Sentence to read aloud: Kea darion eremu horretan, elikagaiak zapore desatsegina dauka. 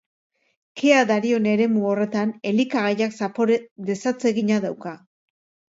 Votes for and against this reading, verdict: 3, 0, accepted